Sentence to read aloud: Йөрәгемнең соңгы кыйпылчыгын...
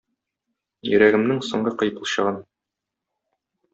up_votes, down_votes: 2, 1